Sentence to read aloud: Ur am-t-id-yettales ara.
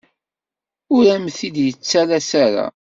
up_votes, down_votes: 2, 0